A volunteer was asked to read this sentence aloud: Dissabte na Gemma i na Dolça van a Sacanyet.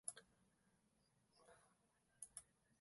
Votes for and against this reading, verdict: 0, 3, rejected